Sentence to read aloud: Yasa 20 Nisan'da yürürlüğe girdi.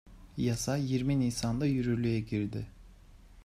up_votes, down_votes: 0, 2